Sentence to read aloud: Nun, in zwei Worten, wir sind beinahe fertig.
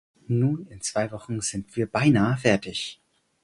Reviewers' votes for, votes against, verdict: 2, 4, rejected